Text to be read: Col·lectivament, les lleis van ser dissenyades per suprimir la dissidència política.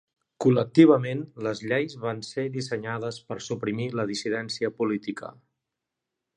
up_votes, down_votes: 2, 0